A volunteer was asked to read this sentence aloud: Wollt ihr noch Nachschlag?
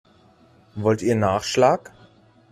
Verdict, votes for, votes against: rejected, 0, 2